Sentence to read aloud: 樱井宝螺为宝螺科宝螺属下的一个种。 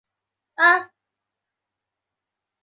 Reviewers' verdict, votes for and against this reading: rejected, 0, 4